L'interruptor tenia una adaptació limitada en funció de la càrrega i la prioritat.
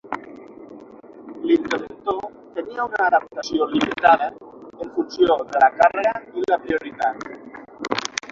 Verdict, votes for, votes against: rejected, 0, 6